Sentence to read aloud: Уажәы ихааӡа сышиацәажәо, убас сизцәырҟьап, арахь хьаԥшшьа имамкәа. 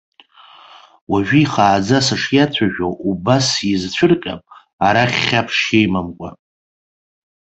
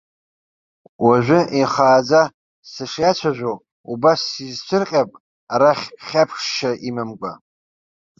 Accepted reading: first